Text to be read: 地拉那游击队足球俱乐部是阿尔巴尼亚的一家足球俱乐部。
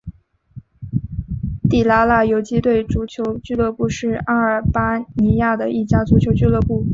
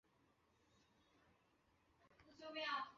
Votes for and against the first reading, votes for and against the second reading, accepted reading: 2, 0, 0, 2, first